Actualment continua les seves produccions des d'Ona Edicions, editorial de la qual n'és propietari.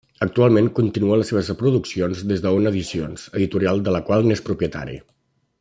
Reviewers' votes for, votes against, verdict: 0, 2, rejected